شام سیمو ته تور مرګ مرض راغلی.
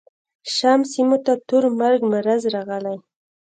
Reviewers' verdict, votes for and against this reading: rejected, 1, 2